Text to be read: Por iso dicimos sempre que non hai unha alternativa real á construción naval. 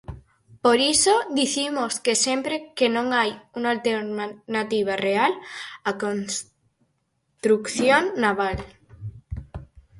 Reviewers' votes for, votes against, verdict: 2, 4, rejected